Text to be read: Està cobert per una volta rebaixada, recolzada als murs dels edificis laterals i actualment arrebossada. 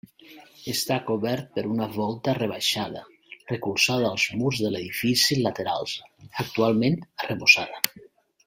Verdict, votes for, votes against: rejected, 0, 2